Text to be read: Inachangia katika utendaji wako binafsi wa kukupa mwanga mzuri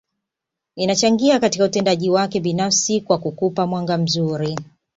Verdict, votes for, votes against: accepted, 2, 0